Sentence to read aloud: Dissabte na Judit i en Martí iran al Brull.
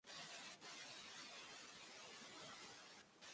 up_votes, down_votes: 0, 2